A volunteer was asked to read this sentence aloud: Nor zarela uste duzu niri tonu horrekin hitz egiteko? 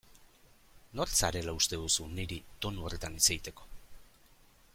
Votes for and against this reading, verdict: 1, 2, rejected